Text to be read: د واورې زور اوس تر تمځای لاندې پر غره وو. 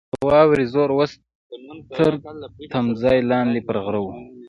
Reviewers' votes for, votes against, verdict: 2, 0, accepted